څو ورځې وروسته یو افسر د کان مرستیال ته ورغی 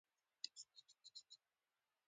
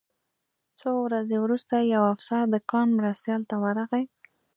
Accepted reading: second